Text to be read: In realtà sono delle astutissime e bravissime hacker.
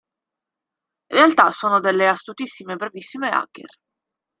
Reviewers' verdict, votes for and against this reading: accepted, 2, 1